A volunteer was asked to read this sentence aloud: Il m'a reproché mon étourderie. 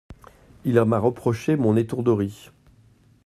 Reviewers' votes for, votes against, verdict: 1, 2, rejected